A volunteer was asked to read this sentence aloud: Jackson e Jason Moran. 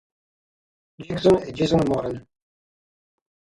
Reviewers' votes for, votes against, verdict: 6, 3, accepted